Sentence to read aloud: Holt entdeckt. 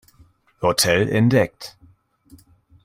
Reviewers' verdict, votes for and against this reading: rejected, 1, 2